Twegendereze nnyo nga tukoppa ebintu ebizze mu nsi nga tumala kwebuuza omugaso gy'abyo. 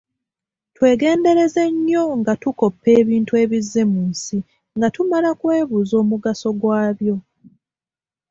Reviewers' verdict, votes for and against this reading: rejected, 0, 2